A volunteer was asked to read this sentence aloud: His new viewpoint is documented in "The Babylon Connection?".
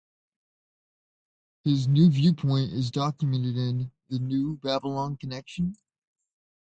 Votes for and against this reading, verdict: 1, 2, rejected